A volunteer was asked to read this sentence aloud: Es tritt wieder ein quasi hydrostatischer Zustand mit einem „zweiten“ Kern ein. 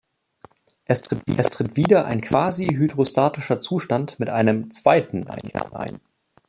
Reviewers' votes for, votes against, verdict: 0, 2, rejected